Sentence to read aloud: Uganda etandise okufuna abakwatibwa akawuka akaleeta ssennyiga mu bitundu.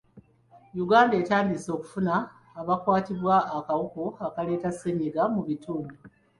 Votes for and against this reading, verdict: 1, 2, rejected